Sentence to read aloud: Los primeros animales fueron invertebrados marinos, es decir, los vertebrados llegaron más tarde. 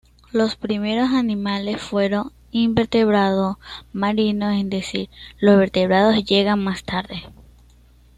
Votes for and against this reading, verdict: 1, 2, rejected